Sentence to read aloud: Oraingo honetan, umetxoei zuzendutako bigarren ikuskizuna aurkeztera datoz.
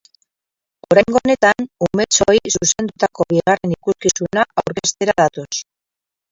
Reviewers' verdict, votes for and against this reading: rejected, 0, 4